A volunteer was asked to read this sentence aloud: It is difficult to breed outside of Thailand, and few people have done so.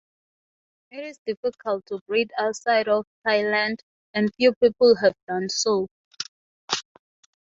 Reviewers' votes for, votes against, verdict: 6, 0, accepted